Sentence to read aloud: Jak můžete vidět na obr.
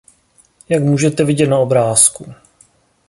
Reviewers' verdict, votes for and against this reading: rejected, 1, 2